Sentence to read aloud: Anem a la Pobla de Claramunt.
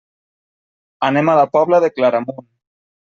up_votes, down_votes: 3, 0